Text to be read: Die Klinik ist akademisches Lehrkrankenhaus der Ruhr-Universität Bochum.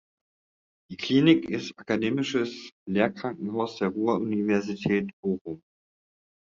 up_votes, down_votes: 2, 0